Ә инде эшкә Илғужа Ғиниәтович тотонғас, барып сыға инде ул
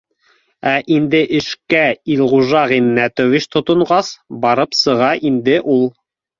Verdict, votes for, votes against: rejected, 1, 2